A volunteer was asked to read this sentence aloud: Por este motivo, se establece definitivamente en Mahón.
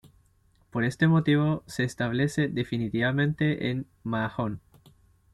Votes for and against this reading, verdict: 2, 0, accepted